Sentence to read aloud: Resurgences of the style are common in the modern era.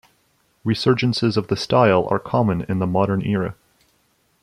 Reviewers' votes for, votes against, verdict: 0, 2, rejected